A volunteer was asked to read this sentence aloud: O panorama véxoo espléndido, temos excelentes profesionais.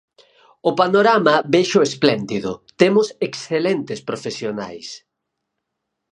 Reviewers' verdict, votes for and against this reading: accepted, 4, 0